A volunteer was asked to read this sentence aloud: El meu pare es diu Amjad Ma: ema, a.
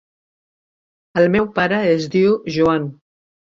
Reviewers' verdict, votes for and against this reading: rejected, 0, 2